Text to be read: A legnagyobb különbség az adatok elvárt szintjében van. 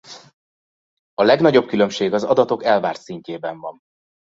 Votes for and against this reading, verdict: 2, 0, accepted